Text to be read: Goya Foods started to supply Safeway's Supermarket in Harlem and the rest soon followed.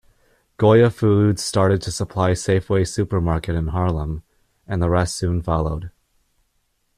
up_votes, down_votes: 0, 2